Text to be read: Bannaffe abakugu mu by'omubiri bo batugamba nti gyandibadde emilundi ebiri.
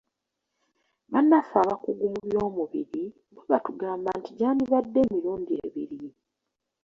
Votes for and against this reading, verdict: 2, 0, accepted